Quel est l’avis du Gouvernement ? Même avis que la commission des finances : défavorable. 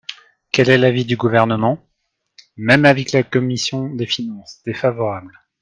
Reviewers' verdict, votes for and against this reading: accepted, 2, 1